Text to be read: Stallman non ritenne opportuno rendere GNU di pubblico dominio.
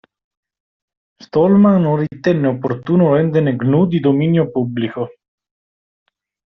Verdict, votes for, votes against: rejected, 1, 2